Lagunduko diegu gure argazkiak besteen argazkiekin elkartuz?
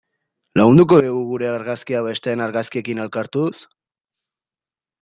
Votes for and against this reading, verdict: 0, 2, rejected